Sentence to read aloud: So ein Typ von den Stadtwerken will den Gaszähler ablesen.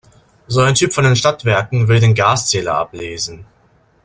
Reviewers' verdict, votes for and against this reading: accepted, 2, 0